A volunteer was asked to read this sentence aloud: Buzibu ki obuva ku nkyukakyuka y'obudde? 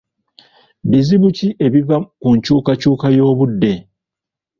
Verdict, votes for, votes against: rejected, 0, 2